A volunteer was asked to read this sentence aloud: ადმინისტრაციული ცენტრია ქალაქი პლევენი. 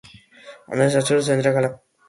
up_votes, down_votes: 0, 2